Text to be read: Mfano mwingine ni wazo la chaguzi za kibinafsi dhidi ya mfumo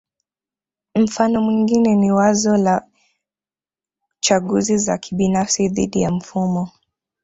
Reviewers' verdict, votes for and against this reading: rejected, 1, 2